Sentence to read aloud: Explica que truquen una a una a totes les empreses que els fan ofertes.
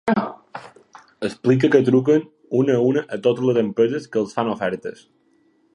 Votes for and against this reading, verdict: 3, 2, accepted